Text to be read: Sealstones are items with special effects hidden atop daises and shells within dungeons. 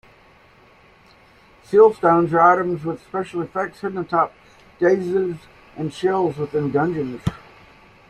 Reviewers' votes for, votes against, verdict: 0, 2, rejected